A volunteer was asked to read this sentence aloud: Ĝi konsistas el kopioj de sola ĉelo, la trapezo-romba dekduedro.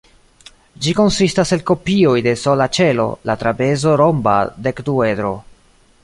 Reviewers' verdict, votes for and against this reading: accepted, 2, 0